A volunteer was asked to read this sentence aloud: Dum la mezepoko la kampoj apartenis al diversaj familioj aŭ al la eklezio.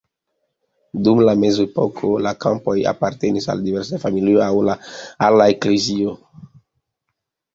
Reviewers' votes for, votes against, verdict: 2, 0, accepted